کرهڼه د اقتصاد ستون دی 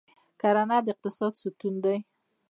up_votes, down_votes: 2, 1